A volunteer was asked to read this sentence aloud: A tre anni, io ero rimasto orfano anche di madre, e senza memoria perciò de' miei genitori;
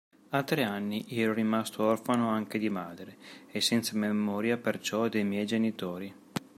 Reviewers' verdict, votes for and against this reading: accepted, 2, 0